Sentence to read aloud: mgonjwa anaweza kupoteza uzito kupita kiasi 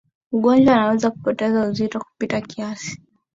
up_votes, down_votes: 12, 1